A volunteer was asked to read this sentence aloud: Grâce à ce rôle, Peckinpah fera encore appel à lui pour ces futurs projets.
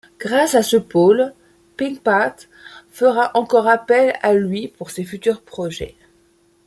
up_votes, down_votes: 1, 2